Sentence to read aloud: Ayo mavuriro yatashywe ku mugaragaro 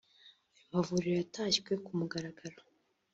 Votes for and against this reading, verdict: 0, 2, rejected